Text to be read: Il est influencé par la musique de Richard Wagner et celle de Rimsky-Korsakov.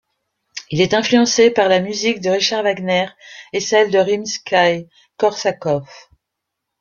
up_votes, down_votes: 0, 2